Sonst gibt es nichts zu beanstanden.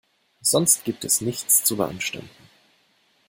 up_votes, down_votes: 2, 0